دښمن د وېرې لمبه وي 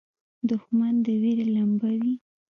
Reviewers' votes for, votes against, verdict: 2, 1, accepted